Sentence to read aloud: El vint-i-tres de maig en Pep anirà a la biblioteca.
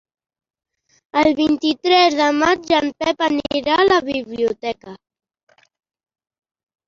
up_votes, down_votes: 4, 1